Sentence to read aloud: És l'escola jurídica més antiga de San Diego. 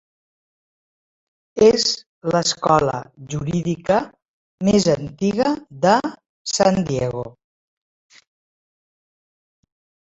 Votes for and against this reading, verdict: 3, 0, accepted